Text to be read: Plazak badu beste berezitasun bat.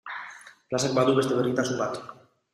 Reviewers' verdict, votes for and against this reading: accepted, 2, 1